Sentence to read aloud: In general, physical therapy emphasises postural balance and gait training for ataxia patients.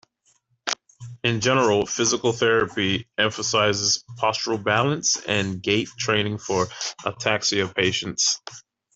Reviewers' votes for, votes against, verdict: 2, 0, accepted